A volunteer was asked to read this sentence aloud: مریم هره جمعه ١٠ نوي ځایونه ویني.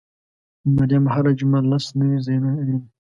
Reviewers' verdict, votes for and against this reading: rejected, 0, 2